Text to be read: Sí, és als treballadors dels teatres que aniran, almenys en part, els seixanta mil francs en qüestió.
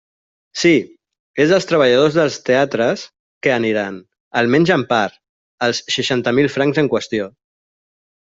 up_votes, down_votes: 2, 0